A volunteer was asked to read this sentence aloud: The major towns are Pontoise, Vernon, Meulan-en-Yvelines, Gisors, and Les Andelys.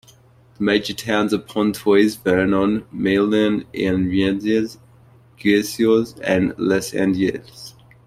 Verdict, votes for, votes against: rejected, 0, 2